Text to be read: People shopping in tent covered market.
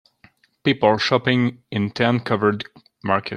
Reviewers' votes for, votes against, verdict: 2, 1, accepted